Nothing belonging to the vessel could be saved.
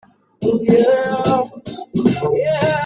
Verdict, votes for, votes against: rejected, 0, 2